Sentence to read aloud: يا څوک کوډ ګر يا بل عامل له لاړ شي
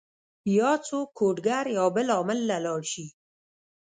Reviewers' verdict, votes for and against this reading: accepted, 2, 0